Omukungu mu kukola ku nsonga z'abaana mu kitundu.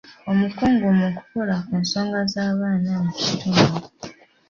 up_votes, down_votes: 1, 2